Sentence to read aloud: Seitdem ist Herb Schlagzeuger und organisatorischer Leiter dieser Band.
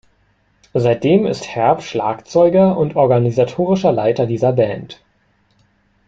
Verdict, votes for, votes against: accepted, 2, 0